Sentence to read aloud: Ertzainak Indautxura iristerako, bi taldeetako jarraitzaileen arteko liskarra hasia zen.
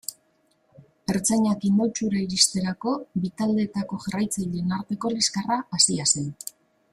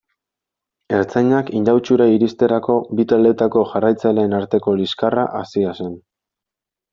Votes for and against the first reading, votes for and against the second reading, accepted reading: 1, 2, 2, 0, second